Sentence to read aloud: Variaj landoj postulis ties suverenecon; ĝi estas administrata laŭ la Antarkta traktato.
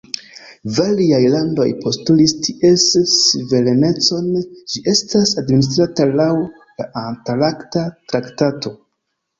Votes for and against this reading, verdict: 0, 2, rejected